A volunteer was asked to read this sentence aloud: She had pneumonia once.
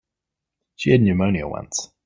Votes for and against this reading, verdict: 3, 1, accepted